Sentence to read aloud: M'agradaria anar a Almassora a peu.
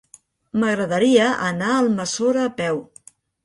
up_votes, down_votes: 3, 0